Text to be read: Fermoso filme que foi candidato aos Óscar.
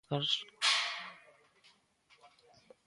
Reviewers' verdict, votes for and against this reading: rejected, 0, 2